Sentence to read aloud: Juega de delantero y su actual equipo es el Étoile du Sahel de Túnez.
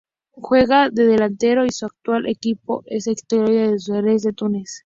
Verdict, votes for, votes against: rejected, 0, 2